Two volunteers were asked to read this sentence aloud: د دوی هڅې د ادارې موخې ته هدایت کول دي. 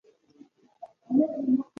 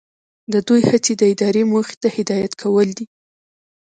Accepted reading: second